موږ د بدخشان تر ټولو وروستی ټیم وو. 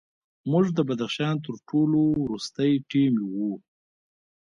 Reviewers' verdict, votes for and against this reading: rejected, 0, 2